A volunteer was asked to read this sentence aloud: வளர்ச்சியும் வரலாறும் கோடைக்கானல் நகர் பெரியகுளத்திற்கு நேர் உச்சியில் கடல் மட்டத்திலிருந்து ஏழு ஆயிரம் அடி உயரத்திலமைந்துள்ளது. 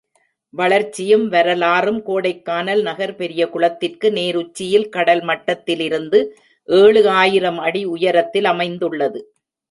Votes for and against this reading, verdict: 4, 0, accepted